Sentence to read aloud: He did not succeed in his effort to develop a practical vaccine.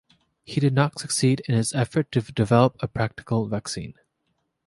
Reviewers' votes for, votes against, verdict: 3, 0, accepted